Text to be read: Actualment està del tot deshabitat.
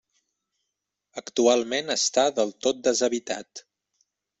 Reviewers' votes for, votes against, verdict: 3, 0, accepted